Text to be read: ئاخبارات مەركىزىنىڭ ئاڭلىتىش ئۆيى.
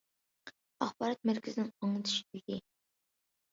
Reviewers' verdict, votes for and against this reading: accepted, 2, 1